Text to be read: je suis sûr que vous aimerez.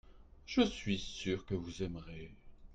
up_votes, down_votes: 2, 0